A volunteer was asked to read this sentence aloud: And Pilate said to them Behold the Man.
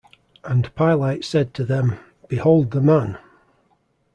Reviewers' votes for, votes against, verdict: 2, 0, accepted